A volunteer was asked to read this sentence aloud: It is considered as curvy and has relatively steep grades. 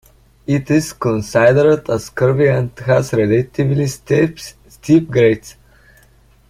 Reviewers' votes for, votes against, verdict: 0, 2, rejected